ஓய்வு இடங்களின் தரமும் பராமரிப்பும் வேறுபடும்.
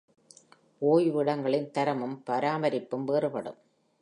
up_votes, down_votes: 2, 0